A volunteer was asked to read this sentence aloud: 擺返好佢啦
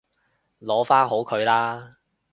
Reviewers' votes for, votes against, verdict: 0, 2, rejected